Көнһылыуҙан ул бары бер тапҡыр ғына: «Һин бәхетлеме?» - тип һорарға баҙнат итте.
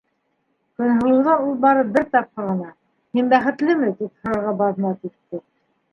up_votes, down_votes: 1, 2